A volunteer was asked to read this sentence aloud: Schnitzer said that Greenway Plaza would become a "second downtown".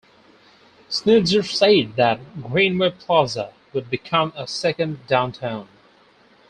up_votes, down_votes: 0, 2